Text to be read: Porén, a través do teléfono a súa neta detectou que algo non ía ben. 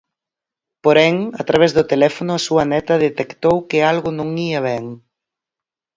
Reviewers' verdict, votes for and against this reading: accepted, 4, 0